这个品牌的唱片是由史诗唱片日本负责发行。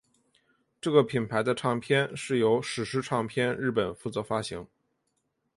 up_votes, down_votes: 1, 2